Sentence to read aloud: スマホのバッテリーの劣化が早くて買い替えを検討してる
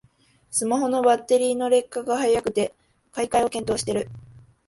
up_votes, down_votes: 2, 0